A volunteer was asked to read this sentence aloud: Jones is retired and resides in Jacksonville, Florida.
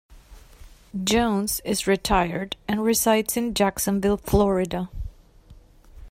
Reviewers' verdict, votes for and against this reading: accepted, 2, 0